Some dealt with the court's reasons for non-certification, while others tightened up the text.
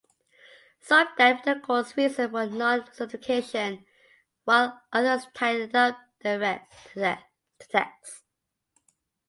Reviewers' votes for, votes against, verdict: 0, 2, rejected